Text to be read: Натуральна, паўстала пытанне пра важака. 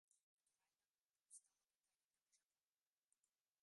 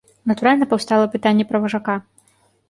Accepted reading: second